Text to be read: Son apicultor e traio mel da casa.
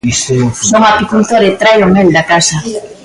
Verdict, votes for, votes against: rejected, 0, 2